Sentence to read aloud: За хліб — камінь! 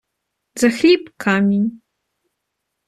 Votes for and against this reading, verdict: 1, 2, rejected